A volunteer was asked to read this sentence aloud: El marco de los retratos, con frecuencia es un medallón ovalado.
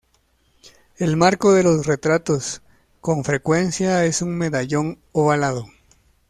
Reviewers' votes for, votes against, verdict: 2, 0, accepted